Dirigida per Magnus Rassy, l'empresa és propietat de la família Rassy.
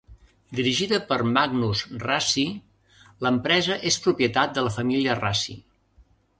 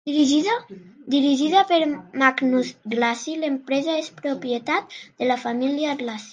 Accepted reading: first